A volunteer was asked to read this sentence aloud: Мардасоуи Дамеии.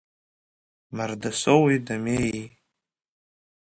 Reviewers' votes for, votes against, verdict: 1, 2, rejected